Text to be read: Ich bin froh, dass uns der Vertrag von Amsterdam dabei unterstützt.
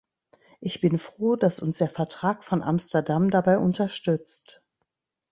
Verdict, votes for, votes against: accepted, 2, 0